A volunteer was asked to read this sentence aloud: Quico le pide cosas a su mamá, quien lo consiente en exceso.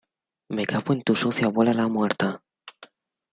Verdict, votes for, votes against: rejected, 0, 2